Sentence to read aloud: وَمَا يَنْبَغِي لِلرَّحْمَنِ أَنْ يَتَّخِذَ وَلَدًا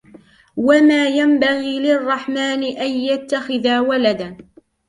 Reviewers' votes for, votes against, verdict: 1, 2, rejected